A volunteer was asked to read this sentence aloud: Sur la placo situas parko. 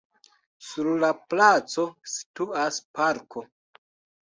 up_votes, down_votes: 2, 0